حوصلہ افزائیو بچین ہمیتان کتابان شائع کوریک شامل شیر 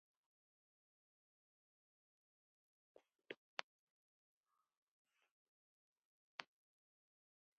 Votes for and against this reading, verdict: 1, 2, rejected